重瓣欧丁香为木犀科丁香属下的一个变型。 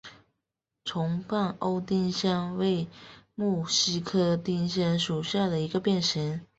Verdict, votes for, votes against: accepted, 3, 0